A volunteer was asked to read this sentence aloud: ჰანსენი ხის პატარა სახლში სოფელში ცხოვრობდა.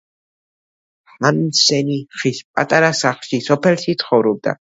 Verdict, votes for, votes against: rejected, 1, 2